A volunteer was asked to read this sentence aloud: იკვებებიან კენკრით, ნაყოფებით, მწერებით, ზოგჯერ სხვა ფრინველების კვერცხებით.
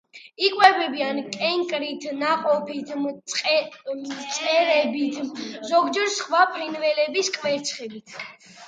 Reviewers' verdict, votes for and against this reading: accepted, 2, 0